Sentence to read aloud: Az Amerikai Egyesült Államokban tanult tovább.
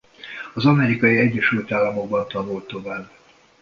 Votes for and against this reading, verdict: 2, 0, accepted